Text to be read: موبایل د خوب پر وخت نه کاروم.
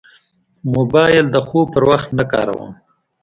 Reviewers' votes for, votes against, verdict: 2, 0, accepted